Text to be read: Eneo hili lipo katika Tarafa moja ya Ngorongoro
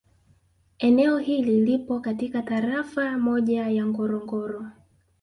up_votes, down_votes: 2, 0